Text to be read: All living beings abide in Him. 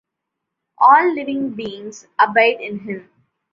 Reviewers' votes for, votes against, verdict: 2, 0, accepted